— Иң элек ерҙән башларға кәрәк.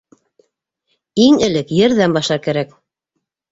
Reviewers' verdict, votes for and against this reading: rejected, 0, 2